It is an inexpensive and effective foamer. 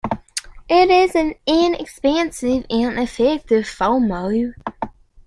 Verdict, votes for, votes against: rejected, 1, 2